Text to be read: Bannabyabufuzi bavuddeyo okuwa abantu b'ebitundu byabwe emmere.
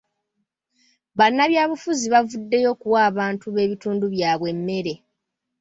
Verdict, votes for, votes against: accepted, 3, 0